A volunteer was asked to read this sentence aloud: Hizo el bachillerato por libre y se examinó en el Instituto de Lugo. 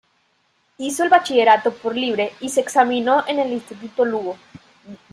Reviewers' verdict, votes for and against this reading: rejected, 1, 2